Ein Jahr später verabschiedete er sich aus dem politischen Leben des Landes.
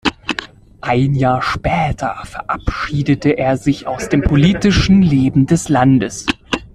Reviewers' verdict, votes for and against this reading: accepted, 2, 1